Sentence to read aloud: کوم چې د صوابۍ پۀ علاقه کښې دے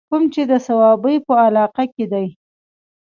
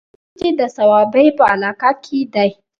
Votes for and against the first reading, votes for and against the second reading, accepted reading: 2, 0, 0, 2, first